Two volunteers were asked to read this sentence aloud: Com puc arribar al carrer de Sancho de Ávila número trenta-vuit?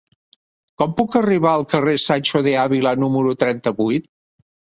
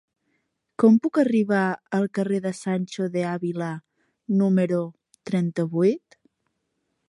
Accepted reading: second